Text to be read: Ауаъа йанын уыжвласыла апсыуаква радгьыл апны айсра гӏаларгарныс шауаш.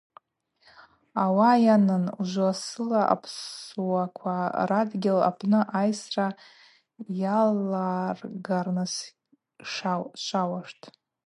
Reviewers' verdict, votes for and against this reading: rejected, 0, 4